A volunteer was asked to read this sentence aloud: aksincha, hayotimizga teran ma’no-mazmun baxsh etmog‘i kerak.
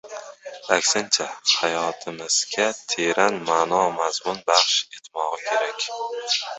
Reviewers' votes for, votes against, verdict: 0, 2, rejected